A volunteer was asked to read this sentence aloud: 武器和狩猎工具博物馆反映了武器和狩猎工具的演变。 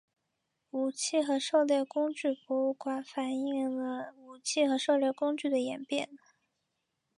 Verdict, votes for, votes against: accepted, 2, 1